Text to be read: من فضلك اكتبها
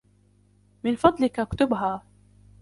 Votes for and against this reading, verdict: 0, 2, rejected